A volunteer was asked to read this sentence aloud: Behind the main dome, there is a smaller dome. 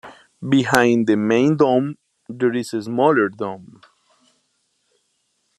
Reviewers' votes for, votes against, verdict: 2, 0, accepted